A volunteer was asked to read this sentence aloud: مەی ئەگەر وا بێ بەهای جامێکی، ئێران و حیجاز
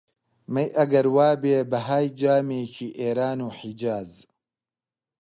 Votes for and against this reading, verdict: 2, 0, accepted